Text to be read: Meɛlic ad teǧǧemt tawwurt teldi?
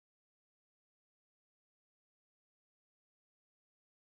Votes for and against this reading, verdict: 0, 2, rejected